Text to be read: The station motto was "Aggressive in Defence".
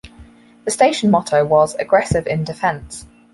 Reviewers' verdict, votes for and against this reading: accepted, 4, 0